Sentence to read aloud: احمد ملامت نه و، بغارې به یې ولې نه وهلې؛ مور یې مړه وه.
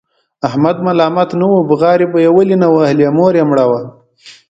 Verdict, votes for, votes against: accepted, 2, 1